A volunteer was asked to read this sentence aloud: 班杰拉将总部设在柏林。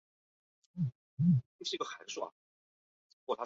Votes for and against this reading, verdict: 0, 2, rejected